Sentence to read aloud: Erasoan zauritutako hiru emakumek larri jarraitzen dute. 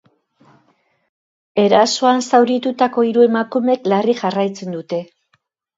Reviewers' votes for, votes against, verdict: 2, 0, accepted